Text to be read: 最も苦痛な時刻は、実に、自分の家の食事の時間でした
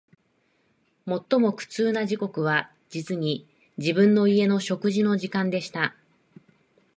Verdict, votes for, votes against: accepted, 2, 0